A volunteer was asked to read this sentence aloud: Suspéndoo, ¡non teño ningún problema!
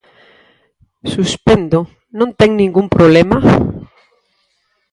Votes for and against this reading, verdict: 0, 4, rejected